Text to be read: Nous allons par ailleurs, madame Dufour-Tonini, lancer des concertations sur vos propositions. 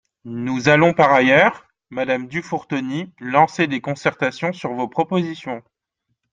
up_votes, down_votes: 0, 2